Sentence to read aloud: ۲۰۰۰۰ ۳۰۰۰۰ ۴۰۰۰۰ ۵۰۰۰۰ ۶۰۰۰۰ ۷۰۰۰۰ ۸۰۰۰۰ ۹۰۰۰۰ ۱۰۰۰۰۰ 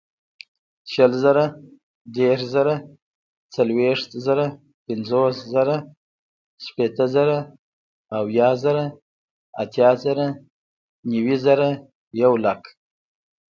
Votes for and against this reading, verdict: 0, 2, rejected